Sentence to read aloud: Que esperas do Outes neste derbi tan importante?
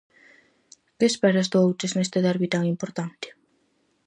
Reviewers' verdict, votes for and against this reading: accepted, 4, 0